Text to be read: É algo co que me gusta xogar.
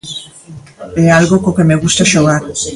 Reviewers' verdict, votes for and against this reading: rejected, 0, 2